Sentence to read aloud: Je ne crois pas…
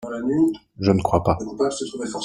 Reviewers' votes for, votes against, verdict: 0, 2, rejected